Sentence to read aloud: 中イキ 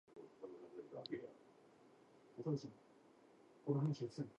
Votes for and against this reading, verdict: 1, 2, rejected